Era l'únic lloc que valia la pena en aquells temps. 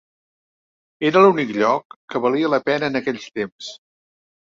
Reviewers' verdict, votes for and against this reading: accepted, 3, 0